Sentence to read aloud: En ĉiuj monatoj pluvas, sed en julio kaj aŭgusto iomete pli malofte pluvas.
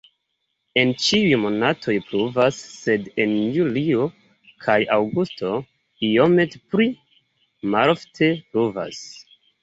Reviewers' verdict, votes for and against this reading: rejected, 1, 2